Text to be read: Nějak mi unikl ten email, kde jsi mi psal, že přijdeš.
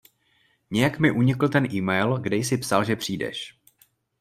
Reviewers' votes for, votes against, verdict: 0, 2, rejected